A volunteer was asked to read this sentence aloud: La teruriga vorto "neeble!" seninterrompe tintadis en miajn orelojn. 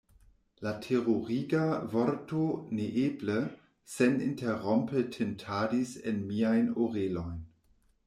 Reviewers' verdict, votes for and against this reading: accepted, 2, 0